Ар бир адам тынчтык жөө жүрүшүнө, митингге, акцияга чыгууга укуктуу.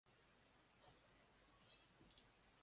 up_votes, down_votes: 1, 2